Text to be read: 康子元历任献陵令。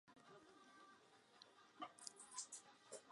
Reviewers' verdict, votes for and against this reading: rejected, 0, 2